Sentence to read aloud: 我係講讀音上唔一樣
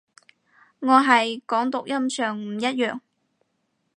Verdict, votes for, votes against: accepted, 4, 0